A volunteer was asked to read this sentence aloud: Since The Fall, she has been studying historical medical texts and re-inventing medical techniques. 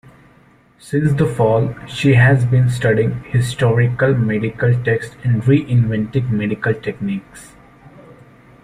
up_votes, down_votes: 1, 2